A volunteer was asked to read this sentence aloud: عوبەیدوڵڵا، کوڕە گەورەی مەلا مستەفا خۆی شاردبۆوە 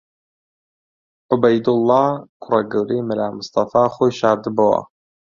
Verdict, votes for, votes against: accepted, 2, 0